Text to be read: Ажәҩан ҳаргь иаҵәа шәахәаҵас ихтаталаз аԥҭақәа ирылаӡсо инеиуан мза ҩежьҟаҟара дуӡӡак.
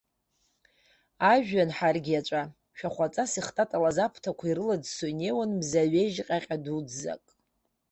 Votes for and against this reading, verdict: 1, 2, rejected